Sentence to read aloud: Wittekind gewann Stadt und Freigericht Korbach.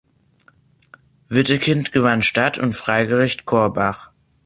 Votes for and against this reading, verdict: 3, 0, accepted